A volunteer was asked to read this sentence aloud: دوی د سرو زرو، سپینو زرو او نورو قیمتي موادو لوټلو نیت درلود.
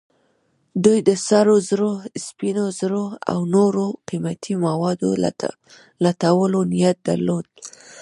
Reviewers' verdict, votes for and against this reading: rejected, 1, 2